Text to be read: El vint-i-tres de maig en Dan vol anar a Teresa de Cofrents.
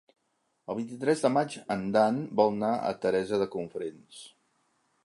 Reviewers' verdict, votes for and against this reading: rejected, 1, 2